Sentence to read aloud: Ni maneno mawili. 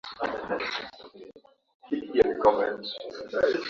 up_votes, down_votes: 2, 6